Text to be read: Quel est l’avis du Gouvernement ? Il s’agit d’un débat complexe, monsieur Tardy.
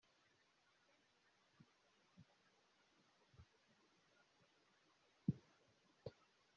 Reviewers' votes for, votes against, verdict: 0, 2, rejected